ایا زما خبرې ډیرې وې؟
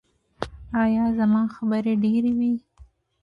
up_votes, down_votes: 1, 2